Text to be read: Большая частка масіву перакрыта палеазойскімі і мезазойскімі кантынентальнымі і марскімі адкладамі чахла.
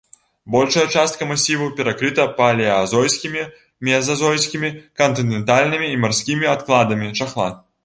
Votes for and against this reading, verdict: 0, 2, rejected